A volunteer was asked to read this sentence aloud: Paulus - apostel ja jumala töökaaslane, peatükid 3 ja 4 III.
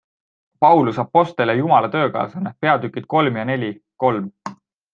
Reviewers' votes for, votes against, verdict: 0, 2, rejected